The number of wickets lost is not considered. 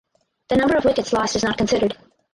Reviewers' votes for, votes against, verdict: 0, 4, rejected